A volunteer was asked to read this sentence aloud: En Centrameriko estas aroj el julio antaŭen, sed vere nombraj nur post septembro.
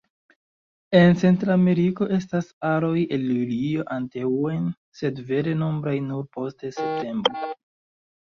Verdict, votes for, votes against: rejected, 1, 2